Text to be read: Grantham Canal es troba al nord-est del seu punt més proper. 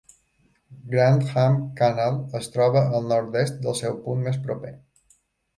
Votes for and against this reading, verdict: 2, 0, accepted